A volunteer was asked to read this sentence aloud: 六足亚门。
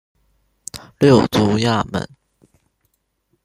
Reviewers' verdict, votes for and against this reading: rejected, 1, 2